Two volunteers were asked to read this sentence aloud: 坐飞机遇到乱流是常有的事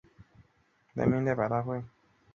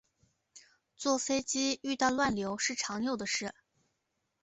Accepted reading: second